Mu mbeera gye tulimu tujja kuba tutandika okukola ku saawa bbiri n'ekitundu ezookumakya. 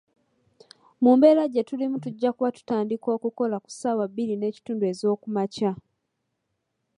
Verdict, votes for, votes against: accepted, 2, 0